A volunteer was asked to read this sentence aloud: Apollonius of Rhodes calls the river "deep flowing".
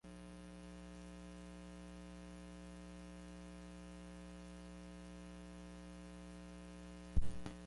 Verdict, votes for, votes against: rejected, 0, 2